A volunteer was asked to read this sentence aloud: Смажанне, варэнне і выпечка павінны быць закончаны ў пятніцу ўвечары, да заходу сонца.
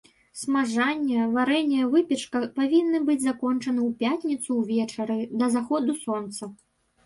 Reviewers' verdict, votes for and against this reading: rejected, 1, 2